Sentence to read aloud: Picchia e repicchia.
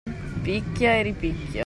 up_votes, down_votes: 1, 2